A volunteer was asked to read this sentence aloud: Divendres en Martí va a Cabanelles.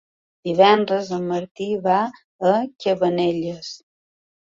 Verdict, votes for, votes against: accepted, 3, 0